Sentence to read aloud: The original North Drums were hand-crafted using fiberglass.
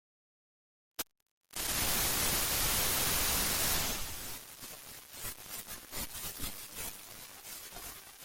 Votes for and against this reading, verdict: 0, 2, rejected